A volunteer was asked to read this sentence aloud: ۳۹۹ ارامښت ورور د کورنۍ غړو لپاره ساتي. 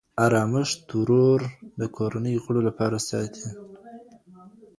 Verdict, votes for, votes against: rejected, 0, 2